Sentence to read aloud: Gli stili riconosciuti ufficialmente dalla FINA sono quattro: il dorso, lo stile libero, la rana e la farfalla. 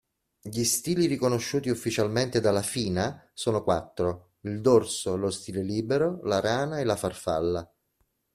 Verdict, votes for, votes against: accepted, 2, 0